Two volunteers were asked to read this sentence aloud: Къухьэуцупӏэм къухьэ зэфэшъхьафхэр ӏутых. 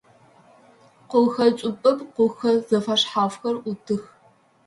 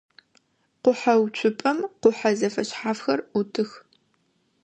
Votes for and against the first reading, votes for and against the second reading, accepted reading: 0, 2, 2, 0, second